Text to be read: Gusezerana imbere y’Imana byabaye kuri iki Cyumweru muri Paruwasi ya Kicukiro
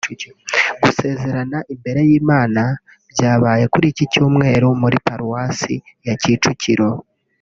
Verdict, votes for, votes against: rejected, 1, 2